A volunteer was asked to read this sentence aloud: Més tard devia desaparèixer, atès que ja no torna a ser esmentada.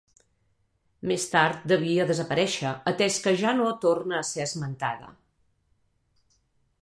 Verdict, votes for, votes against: accepted, 2, 0